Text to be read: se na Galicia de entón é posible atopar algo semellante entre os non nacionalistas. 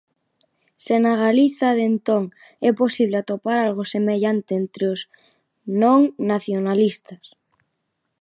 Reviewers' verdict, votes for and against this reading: rejected, 0, 2